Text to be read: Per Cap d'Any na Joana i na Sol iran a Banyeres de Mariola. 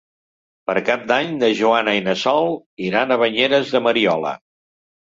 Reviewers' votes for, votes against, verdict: 3, 0, accepted